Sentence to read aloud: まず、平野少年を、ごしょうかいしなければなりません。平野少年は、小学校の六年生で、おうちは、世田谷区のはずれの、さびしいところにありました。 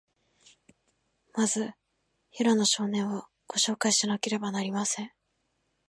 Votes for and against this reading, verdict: 1, 2, rejected